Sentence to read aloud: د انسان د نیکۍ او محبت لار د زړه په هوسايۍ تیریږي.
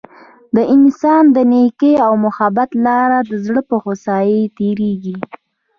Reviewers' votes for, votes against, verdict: 2, 0, accepted